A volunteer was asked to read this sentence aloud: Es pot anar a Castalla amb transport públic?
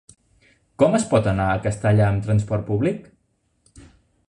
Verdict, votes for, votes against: rejected, 0, 2